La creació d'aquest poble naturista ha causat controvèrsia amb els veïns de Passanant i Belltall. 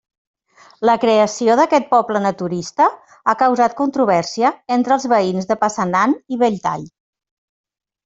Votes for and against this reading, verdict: 1, 2, rejected